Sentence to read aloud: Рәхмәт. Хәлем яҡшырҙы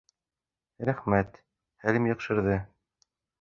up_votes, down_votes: 2, 0